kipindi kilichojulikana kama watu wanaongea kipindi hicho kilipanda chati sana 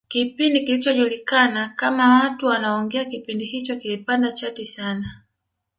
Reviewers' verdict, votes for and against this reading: accepted, 2, 0